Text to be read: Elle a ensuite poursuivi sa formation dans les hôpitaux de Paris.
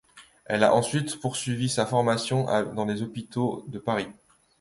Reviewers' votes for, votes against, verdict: 1, 2, rejected